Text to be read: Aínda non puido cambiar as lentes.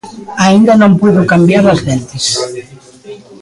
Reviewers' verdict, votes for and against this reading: rejected, 1, 2